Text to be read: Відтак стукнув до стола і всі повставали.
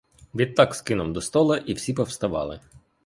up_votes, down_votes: 1, 2